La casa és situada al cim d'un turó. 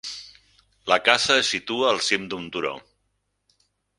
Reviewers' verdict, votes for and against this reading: rejected, 0, 4